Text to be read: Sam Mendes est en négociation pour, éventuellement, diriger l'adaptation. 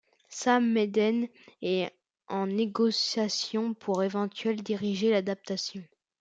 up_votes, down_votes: 1, 2